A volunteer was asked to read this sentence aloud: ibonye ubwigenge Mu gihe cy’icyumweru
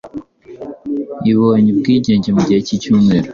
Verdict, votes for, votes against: accepted, 2, 0